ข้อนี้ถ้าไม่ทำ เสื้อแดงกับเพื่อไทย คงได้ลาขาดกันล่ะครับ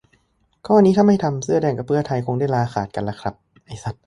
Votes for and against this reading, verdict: 0, 2, rejected